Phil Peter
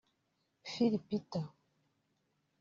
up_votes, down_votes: 1, 2